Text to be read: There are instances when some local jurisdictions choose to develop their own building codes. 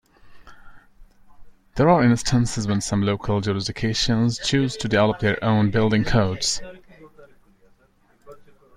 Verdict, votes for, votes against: rejected, 0, 2